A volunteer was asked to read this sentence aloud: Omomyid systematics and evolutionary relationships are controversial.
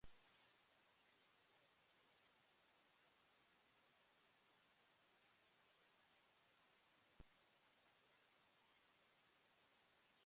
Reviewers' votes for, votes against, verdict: 0, 2, rejected